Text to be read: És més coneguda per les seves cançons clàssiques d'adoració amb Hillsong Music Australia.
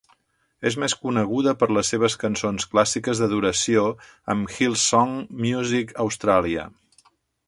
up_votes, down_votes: 2, 0